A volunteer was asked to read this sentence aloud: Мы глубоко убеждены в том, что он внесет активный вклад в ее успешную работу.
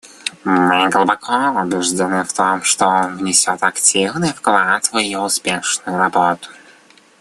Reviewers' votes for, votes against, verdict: 1, 2, rejected